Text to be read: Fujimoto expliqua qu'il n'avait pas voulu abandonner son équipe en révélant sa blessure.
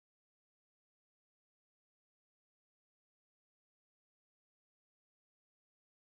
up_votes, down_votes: 0, 2